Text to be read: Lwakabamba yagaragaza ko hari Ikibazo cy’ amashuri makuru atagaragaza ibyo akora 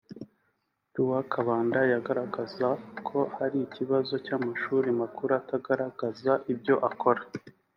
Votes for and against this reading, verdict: 0, 2, rejected